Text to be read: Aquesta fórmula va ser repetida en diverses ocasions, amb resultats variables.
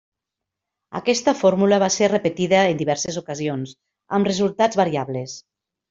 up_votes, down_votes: 3, 0